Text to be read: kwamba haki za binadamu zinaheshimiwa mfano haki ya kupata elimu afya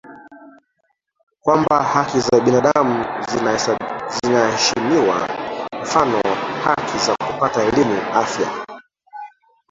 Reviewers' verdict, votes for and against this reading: rejected, 0, 2